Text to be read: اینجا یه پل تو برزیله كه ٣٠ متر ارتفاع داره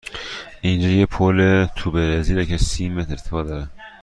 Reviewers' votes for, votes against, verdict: 0, 2, rejected